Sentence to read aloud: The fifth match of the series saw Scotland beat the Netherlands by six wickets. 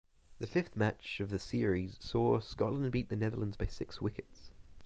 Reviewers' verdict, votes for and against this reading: accepted, 6, 0